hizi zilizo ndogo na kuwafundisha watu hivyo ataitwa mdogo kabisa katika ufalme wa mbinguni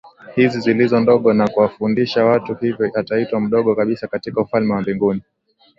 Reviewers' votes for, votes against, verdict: 15, 0, accepted